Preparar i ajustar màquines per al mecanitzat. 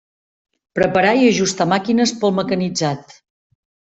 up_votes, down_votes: 1, 2